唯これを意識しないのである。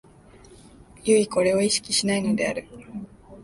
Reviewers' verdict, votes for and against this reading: rejected, 0, 2